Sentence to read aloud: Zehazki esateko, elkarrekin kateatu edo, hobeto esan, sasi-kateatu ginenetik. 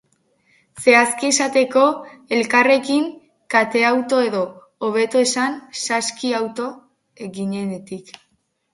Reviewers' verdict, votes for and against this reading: rejected, 2, 2